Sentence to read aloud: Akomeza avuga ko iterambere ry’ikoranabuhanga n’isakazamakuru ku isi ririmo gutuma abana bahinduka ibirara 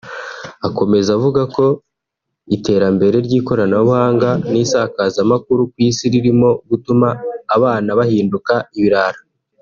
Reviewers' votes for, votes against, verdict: 2, 0, accepted